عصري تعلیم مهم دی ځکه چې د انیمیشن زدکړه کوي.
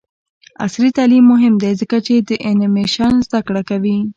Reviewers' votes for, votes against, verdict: 2, 0, accepted